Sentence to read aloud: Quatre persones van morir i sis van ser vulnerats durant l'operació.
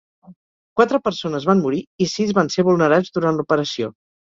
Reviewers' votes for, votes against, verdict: 4, 0, accepted